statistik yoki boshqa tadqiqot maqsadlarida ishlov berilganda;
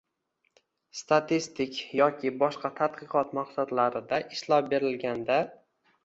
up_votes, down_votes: 1, 2